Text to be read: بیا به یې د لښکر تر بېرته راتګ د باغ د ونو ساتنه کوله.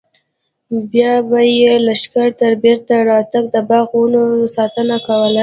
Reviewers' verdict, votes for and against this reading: accepted, 2, 1